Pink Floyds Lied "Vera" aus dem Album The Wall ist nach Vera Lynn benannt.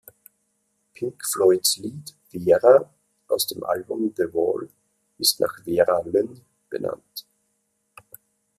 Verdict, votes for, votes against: accepted, 4, 0